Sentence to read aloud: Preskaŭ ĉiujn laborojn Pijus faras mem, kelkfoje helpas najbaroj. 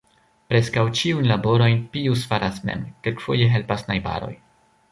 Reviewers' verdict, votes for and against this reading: rejected, 1, 2